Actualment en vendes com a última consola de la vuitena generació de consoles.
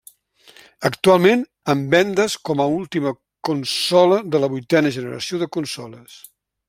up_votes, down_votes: 1, 2